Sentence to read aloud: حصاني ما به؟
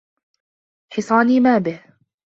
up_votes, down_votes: 2, 0